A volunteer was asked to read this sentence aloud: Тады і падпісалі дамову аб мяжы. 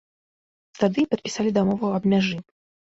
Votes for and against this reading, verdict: 2, 0, accepted